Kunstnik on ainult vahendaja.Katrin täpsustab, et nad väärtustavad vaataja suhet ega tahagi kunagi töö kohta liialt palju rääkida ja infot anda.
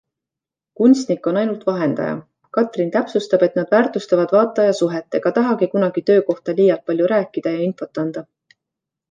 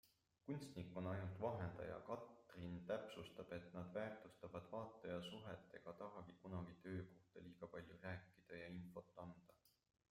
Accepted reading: first